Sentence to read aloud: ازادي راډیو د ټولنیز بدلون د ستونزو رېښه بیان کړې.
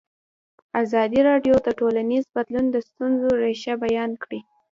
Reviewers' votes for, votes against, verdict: 1, 2, rejected